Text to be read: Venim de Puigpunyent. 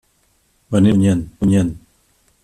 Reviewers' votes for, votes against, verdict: 0, 3, rejected